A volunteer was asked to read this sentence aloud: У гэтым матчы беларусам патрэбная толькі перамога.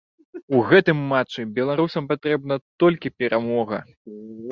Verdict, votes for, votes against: rejected, 1, 2